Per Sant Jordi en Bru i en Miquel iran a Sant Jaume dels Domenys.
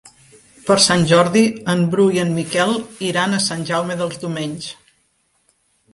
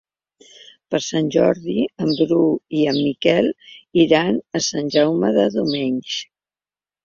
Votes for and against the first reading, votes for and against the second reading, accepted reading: 3, 1, 0, 2, first